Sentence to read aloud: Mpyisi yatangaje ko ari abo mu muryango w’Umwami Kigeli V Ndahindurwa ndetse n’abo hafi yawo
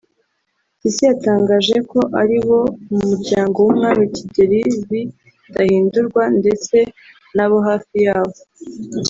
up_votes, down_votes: 1, 2